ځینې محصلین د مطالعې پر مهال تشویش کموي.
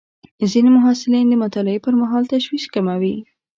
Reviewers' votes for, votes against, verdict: 2, 0, accepted